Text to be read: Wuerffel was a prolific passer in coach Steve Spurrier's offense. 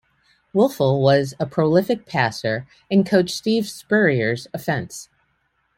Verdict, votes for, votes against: accepted, 2, 0